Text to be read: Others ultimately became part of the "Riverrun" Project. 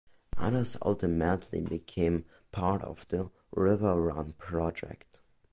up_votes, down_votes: 2, 0